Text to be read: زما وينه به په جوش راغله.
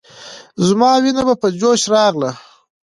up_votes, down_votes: 2, 0